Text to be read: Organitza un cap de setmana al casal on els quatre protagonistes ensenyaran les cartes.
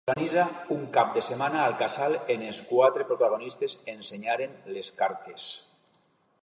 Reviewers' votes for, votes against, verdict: 0, 2, rejected